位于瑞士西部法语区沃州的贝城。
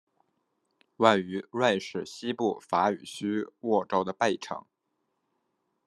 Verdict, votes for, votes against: accepted, 2, 0